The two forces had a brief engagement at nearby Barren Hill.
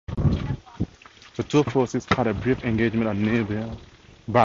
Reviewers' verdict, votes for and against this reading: rejected, 2, 2